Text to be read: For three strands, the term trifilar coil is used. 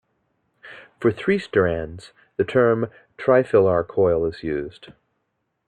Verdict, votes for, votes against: accepted, 2, 0